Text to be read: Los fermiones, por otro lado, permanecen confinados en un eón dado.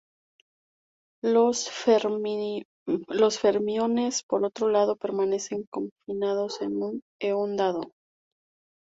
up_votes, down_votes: 2, 0